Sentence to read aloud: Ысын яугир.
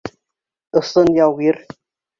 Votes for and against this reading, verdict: 2, 0, accepted